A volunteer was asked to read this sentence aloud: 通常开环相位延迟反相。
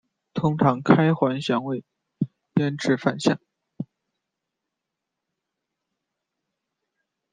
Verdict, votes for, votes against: rejected, 0, 2